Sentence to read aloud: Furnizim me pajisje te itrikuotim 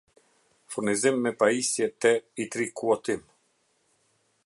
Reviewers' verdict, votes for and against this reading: rejected, 0, 2